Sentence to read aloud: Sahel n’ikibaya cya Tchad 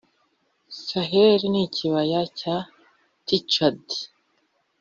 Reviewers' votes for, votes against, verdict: 1, 2, rejected